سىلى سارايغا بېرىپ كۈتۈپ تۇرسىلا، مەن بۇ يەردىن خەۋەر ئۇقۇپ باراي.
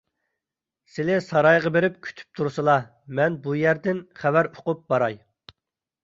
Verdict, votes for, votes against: accepted, 2, 0